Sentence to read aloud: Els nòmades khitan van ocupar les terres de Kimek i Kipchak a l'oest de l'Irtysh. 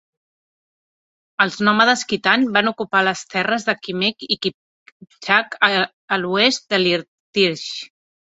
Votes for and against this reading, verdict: 0, 2, rejected